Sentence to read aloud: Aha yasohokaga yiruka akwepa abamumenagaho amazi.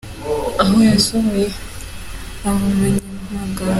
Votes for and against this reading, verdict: 1, 2, rejected